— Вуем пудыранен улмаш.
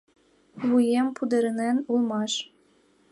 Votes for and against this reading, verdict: 0, 2, rejected